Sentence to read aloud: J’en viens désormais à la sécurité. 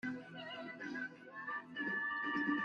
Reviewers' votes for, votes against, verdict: 0, 2, rejected